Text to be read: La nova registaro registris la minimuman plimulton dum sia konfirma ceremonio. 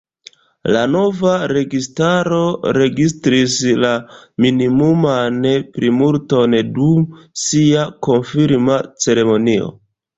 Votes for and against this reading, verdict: 2, 0, accepted